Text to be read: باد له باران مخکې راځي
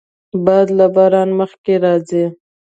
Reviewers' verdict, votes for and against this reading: accepted, 2, 0